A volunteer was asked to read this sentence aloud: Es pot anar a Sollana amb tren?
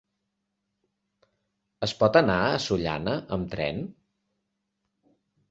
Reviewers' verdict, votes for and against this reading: accepted, 3, 0